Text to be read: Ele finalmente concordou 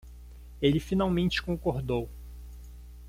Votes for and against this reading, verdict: 1, 2, rejected